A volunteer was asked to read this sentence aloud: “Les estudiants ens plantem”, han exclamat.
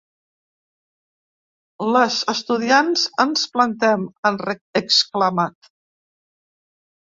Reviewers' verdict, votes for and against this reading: rejected, 0, 2